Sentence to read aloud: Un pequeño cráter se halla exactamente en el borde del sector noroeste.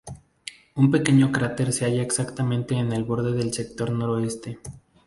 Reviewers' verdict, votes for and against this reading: accepted, 2, 0